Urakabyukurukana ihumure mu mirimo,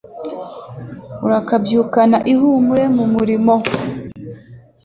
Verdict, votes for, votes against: rejected, 0, 2